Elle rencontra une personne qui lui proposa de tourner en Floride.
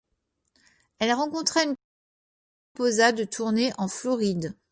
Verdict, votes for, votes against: rejected, 1, 2